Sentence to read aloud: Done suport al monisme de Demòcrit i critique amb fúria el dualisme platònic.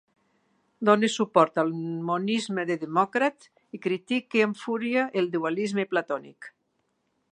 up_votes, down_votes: 1, 3